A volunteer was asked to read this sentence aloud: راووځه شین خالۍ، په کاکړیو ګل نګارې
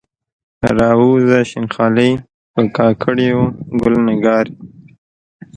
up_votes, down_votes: 1, 2